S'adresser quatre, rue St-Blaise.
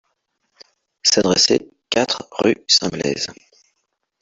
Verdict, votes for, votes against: accepted, 2, 1